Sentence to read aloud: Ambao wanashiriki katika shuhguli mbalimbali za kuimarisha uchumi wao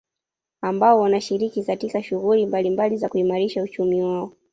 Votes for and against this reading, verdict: 1, 2, rejected